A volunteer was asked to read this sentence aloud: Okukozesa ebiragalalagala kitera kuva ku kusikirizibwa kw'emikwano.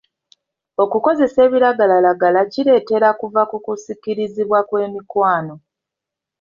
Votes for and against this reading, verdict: 2, 1, accepted